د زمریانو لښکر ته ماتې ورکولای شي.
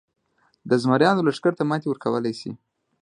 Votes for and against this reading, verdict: 2, 0, accepted